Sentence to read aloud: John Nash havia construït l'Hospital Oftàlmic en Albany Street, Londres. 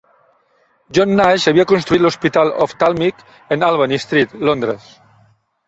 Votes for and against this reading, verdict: 2, 0, accepted